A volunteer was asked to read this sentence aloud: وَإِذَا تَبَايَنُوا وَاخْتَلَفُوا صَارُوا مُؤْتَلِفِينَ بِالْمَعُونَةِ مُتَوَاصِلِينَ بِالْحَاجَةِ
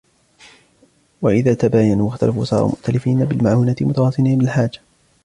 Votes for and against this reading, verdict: 2, 1, accepted